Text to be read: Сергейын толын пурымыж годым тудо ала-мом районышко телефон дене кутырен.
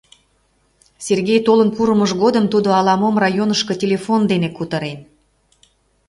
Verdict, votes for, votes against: rejected, 1, 2